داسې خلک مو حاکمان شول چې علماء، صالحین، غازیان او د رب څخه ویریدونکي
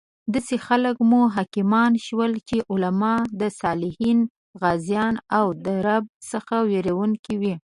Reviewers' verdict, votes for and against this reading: rejected, 0, 2